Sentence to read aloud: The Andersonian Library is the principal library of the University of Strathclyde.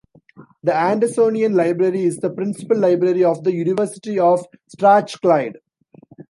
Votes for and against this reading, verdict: 1, 2, rejected